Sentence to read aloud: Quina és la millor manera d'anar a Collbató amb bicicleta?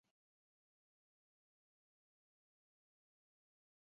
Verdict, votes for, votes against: rejected, 0, 2